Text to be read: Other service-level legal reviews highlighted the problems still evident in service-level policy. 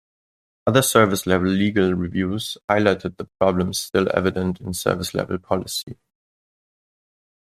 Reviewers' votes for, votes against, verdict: 2, 0, accepted